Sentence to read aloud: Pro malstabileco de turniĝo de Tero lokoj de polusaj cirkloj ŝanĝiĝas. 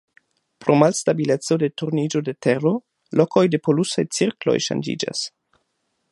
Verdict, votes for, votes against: accepted, 2, 0